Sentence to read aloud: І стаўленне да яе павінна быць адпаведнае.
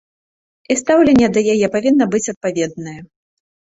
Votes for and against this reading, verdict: 3, 0, accepted